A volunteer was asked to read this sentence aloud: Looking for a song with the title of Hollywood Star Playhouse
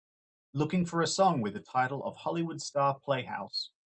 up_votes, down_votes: 2, 0